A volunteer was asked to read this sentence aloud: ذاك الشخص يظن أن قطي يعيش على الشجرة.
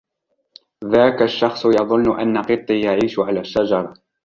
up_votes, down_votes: 3, 0